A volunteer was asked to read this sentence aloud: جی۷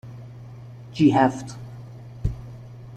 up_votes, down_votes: 0, 2